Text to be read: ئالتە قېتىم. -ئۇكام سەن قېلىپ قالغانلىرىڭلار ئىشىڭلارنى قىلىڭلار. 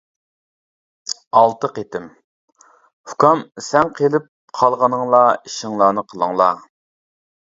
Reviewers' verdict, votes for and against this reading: rejected, 0, 2